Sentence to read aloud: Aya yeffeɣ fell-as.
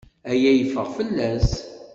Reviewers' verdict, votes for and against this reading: accepted, 2, 0